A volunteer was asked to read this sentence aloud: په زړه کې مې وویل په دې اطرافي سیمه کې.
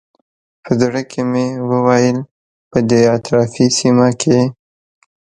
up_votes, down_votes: 2, 0